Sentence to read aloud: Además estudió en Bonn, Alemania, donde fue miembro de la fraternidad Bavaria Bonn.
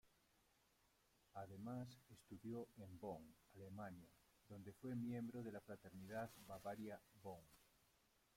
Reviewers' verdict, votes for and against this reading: rejected, 0, 2